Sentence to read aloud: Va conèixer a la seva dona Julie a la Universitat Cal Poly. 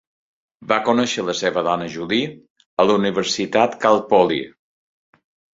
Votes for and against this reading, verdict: 2, 1, accepted